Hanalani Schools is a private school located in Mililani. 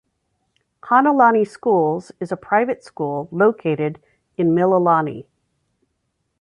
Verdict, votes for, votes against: accepted, 2, 0